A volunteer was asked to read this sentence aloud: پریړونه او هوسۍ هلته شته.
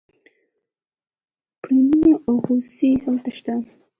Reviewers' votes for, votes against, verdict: 0, 2, rejected